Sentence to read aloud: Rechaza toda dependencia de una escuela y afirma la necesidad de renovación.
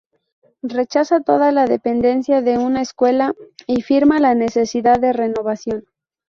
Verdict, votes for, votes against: rejected, 0, 2